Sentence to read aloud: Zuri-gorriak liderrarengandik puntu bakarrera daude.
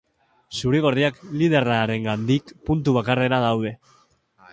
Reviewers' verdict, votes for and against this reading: accepted, 2, 1